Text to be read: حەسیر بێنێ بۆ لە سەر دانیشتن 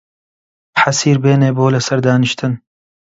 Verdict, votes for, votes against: accepted, 2, 0